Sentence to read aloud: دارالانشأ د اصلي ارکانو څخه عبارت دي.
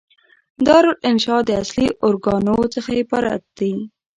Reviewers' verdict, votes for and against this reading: rejected, 0, 2